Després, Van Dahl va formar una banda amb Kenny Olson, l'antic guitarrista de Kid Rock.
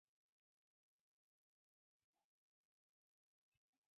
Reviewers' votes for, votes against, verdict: 0, 3, rejected